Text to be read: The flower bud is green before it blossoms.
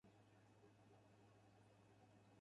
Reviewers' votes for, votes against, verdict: 0, 4, rejected